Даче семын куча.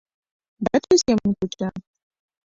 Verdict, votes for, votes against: rejected, 1, 2